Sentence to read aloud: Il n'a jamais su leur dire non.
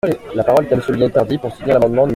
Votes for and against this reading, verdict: 0, 2, rejected